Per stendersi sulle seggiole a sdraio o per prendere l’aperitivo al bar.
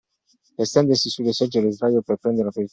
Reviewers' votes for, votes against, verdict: 0, 2, rejected